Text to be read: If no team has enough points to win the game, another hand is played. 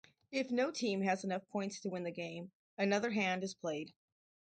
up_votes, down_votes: 2, 2